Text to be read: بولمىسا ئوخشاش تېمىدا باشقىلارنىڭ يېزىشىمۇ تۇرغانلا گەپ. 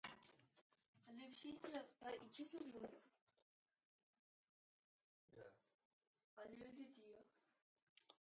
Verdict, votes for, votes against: rejected, 0, 2